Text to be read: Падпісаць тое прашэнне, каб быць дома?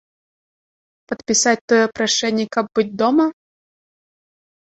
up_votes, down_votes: 2, 0